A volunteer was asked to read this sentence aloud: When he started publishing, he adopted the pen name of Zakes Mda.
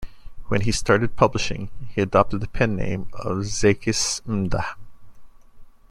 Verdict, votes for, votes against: rejected, 1, 2